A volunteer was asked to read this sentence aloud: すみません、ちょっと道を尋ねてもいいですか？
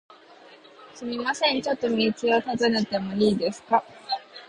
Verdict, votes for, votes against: accepted, 2, 0